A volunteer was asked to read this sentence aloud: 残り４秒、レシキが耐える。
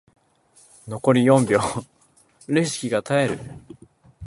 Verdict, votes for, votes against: rejected, 0, 2